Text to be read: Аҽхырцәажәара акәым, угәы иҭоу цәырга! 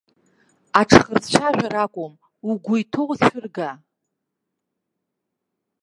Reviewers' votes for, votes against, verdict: 1, 2, rejected